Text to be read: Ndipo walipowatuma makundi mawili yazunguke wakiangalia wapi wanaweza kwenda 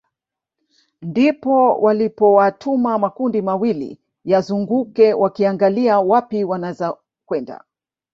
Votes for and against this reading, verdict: 2, 0, accepted